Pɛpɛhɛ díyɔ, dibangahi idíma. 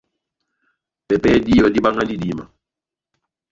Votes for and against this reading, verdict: 1, 2, rejected